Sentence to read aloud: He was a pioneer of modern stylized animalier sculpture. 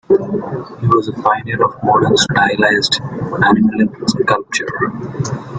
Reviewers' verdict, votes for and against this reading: rejected, 0, 2